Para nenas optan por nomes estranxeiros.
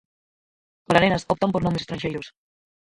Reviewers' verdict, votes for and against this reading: rejected, 0, 4